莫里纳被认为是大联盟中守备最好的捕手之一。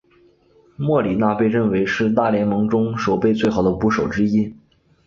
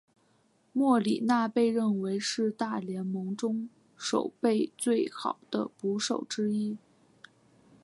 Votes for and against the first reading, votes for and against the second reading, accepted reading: 1, 2, 2, 0, second